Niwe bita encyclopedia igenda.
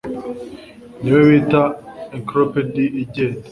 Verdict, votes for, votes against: accepted, 2, 0